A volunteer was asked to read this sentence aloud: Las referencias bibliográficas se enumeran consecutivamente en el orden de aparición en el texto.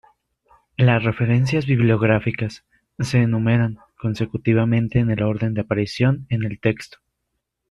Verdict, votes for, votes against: accepted, 2, 0